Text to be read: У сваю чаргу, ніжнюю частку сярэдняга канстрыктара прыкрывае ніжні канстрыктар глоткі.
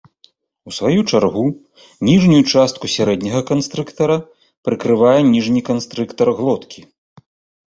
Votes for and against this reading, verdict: 2, 0, accepted